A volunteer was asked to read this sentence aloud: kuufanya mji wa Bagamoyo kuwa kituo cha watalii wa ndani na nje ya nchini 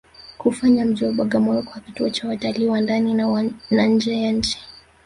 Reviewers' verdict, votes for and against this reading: accepted, 2, 0